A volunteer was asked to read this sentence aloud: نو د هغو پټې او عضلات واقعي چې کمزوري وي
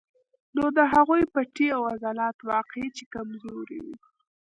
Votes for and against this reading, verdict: 1, 2, rejected